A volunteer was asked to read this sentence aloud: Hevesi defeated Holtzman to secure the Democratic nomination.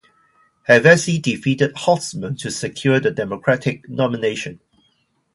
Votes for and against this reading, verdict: 2, 0, accepted